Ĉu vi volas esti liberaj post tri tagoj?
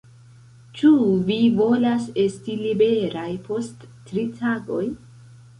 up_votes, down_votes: 2, 0